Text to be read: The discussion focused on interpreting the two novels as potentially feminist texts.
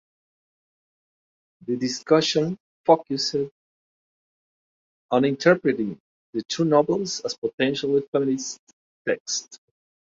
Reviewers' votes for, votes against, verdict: 1, 2, rejected